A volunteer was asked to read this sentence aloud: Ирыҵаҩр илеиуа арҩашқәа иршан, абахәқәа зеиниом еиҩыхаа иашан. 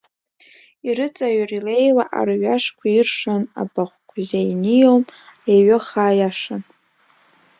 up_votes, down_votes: 1, 2